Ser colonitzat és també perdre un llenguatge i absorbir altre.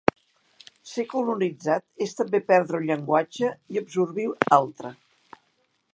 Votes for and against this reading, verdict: 3, 4, rejected